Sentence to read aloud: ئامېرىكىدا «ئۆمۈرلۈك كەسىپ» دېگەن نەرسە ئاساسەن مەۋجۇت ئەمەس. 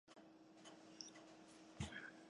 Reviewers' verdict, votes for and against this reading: rejected, 0, 2